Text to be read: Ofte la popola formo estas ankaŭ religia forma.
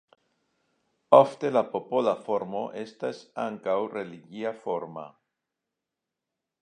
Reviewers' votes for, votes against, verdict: 2, 0, accepted